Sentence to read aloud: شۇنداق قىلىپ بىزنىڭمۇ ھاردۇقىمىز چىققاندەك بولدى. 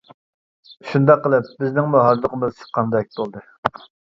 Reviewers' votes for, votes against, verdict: 0, 2, rejected